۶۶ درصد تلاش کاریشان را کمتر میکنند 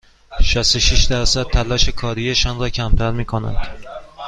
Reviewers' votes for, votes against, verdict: 0, 2, rejected